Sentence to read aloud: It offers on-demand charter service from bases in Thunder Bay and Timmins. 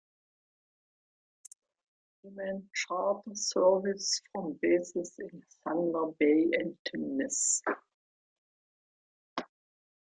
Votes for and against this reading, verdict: 0, 2, rejected